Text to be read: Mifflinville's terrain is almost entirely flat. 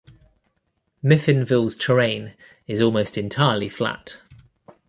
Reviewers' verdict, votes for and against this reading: rejected, 0, 2